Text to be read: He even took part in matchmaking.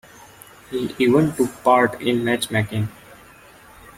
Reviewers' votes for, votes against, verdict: 2, 0, accepted